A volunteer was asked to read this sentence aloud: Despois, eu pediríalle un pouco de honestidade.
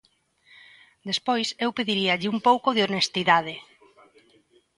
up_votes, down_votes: 2, 0